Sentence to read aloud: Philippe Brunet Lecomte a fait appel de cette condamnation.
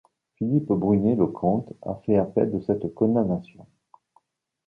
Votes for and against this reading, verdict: 0, 2, rejected